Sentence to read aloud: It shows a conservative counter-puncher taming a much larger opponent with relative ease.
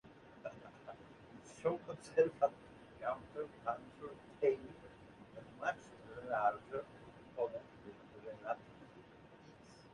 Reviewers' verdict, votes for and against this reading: rejected, 0, 2